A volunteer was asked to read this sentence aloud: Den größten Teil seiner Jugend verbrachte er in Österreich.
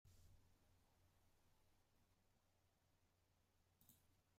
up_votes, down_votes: 0, 2